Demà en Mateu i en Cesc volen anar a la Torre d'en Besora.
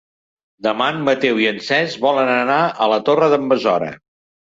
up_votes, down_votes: 3, 1